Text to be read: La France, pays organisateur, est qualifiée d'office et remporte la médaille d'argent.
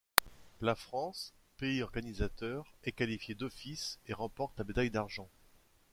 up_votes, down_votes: 2, 0